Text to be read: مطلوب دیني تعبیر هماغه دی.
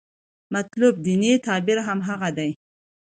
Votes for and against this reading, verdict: 2, 0, accepted